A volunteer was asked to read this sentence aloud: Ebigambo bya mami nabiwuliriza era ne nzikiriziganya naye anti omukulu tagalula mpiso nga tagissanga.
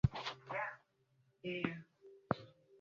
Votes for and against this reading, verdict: 1, 2, rejected